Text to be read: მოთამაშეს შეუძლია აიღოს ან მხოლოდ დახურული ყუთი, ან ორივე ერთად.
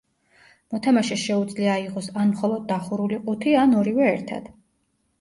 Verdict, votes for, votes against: accepted, 2, 0